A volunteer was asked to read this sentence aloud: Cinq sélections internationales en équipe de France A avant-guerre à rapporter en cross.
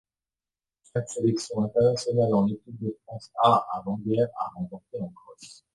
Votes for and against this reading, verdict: 0, 2, rejected